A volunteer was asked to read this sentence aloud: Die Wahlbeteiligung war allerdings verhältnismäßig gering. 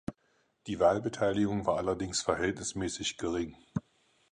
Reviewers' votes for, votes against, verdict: 4, 0, accepted